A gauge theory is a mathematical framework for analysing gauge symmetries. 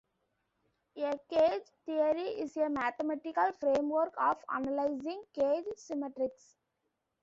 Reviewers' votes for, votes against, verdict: 0, 2, rejected